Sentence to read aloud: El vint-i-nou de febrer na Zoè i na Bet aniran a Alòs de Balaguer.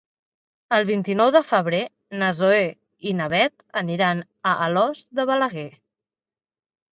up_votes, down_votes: 3, 0